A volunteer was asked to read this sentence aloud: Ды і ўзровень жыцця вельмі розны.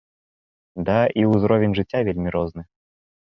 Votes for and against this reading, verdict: 0, 3, rejected